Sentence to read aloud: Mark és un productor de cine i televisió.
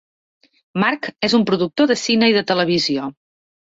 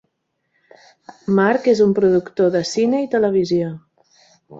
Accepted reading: second